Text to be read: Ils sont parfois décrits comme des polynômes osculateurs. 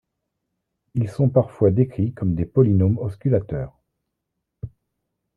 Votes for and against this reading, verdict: 2, 0, accepted